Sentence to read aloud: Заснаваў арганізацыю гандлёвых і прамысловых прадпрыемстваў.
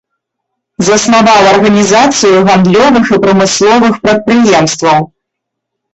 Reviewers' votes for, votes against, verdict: 0, 2, rejected